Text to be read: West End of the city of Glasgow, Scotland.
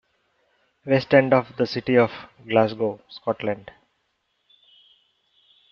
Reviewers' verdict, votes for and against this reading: accepted, 2, 0